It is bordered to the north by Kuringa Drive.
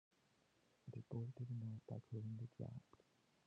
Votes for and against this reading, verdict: 1, 2, rejected